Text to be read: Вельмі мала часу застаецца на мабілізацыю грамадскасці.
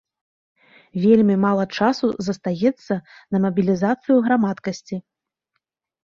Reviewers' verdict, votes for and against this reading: rejected, 1, 2